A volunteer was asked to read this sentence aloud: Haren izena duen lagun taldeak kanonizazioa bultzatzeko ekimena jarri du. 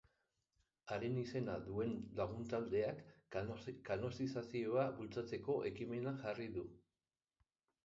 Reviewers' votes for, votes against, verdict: 0, 17, rejected